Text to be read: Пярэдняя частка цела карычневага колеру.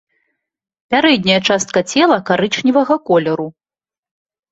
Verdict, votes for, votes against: accepted, 2, 0